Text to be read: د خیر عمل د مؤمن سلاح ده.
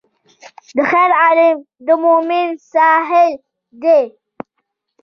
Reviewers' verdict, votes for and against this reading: rejected, 0, 3